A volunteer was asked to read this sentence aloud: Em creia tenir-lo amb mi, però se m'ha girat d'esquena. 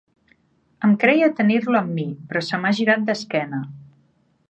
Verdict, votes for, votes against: accepted, 3, 0